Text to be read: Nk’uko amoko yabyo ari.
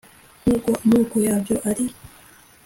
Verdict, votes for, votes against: accepted, 2, 0